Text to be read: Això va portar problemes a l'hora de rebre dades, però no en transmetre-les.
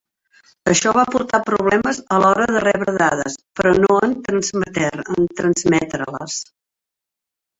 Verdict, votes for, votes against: rejected, 0, 3